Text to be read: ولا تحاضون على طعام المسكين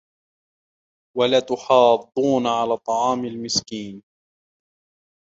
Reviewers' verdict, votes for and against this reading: accepted, 2, 0